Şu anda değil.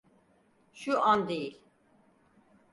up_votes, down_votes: 0, 4